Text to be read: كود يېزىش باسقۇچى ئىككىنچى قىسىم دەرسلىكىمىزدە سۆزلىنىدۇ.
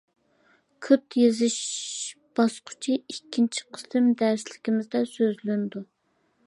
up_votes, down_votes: 1, 2